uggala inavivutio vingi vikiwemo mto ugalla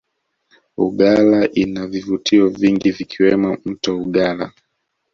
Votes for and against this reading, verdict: 0, 2, rejected